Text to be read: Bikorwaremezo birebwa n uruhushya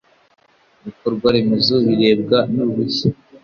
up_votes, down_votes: 2, 0